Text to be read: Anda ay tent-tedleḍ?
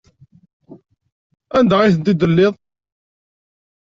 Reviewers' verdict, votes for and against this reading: rejected, 1, 2